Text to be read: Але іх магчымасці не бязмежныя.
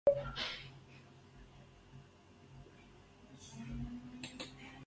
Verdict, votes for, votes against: rejected, 1, 2